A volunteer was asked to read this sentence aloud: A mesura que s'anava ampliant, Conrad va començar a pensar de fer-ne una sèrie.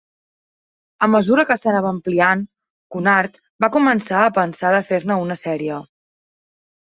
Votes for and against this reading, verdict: 1, 3, rejected